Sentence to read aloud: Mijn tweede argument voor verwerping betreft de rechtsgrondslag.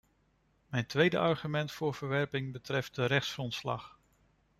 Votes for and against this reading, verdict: 2, 0, accepted